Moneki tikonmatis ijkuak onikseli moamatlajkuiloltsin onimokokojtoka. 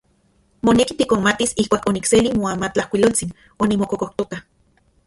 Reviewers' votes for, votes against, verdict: 2, 0, accepted